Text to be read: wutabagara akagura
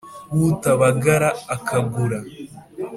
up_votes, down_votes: 2, 0